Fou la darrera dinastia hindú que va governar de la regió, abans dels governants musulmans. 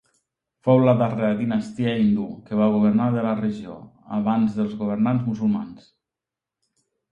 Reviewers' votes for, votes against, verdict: 3, 0, accepted